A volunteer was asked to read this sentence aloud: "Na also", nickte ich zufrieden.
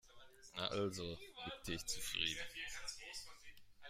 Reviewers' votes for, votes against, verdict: 1, 2, rejected